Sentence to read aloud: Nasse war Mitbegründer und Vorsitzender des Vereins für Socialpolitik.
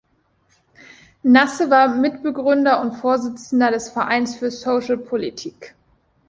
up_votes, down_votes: 2, 0